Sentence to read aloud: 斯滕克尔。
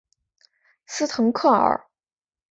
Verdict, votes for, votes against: accepted, 3, 0